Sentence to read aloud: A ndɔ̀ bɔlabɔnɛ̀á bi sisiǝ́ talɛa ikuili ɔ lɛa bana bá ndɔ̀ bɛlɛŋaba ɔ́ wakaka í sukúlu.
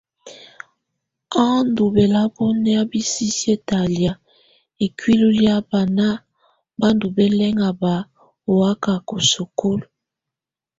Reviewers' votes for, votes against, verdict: 2, 0, accepted